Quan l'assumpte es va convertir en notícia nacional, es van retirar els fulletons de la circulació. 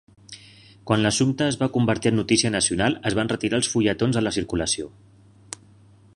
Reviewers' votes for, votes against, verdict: 2, 0, accepted